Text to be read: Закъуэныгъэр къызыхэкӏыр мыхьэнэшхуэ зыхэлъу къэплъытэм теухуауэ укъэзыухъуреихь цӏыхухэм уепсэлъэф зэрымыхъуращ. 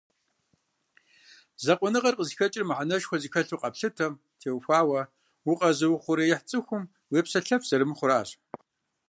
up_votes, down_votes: 1, 2